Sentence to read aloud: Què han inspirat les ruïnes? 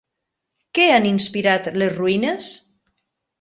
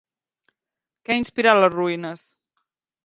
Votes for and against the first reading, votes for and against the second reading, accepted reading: 3, 0, 1, 2, first